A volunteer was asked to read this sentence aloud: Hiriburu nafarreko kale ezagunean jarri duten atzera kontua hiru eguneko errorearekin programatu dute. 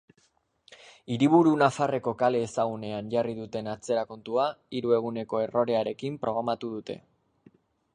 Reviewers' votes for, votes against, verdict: 2, 0, accepted